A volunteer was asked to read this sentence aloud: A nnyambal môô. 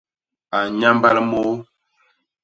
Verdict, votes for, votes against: accepted, 2, 0